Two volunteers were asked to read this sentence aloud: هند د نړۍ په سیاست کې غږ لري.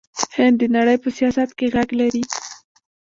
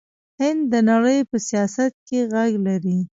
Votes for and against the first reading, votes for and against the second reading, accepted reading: 2, 0, 0, 2, first